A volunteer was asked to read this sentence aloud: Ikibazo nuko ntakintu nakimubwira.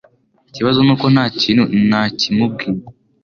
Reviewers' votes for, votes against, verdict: 1, 2, rejected